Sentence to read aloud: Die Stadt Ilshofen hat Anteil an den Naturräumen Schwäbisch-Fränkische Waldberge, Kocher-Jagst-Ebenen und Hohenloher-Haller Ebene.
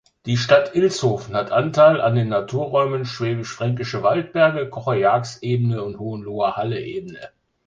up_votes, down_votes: 2, 0